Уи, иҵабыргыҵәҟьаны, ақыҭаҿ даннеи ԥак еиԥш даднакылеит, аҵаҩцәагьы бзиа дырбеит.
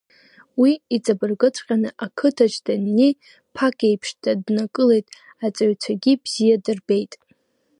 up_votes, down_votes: 1, 2